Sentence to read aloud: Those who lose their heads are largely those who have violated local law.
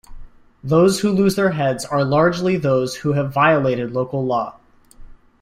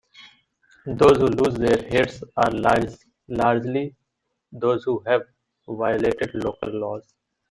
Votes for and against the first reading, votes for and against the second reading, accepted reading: 2, 0, 0, 2, first